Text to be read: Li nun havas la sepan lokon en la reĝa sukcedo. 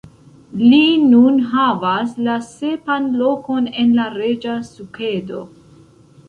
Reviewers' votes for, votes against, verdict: 0, 2, rejected